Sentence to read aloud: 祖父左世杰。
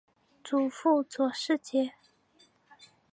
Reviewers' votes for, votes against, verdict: 5, 0, accepted